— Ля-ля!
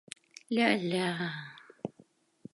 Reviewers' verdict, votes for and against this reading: accepted, 2, 0